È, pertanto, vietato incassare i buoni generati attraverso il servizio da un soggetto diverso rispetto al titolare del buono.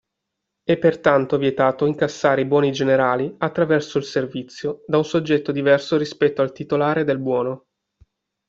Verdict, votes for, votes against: accepted, 2, 1